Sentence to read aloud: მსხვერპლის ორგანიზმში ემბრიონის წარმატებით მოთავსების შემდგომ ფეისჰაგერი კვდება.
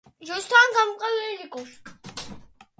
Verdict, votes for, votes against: rejected, 0, 2